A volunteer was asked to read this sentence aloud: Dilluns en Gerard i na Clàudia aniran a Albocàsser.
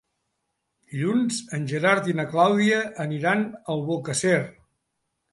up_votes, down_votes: 1, 2